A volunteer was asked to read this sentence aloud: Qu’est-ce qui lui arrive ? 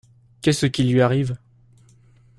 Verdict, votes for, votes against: accepted, 2, 0